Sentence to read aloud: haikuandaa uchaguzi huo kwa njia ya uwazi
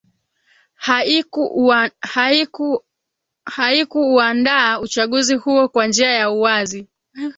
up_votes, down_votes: 1, 2